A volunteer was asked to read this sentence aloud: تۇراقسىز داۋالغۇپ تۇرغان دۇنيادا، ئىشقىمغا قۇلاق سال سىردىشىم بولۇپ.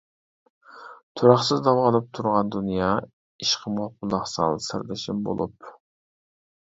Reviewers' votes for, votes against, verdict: 0, 2, rejected